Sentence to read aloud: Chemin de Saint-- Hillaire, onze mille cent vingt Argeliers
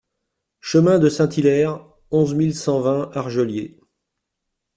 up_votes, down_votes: 2, 0